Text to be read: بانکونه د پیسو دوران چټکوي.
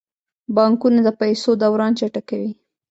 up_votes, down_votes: 2, 0